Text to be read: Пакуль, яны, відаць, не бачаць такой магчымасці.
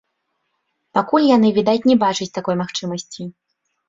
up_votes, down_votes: 1, 2